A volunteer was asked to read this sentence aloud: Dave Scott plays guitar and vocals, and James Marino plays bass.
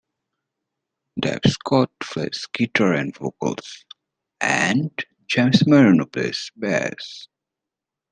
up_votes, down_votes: 2, 0